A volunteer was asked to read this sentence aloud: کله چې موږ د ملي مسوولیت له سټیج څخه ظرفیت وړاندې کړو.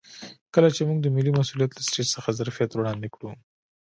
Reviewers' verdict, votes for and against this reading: accepted, 2, 0